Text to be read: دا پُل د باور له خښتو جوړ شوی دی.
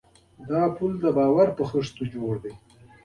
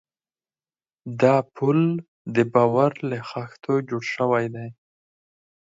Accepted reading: second